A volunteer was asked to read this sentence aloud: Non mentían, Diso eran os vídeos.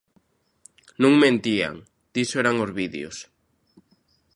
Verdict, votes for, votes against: accepted, 2, 0